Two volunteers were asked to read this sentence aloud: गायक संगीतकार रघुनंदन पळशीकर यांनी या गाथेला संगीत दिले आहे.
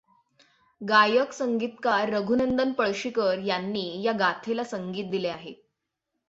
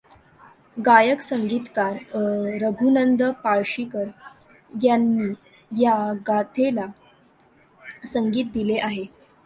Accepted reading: first